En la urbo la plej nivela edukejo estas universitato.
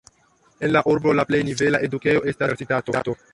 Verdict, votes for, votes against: rejected, 1, 2